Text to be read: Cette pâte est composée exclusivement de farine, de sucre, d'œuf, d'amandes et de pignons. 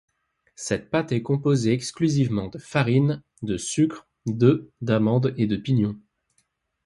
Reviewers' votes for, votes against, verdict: 2, 0, accepted